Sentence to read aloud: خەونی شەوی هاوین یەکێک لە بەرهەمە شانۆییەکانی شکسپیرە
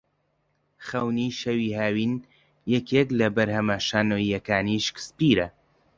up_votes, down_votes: 2, 0